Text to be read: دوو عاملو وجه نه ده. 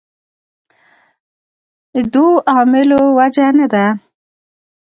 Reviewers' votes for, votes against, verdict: 1, 2, rejected